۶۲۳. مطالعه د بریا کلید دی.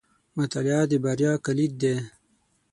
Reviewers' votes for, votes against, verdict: 0, 2, rejected